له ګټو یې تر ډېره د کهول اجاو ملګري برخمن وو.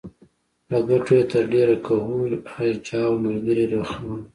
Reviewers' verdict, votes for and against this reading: accepted, 2, 0